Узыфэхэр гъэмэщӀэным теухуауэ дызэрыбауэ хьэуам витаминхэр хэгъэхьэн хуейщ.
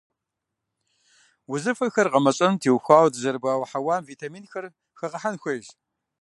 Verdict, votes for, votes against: accepted, 2, 0